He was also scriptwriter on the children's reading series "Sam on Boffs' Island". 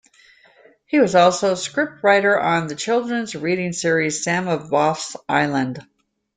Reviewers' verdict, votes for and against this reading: rejected, 0, 2